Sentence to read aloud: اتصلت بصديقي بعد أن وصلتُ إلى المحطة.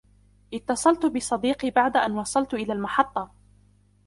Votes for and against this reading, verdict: 0, 2, rejected